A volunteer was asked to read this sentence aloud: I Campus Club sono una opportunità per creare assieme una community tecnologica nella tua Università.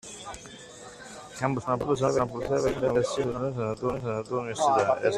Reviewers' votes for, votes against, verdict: 0, 2, rejected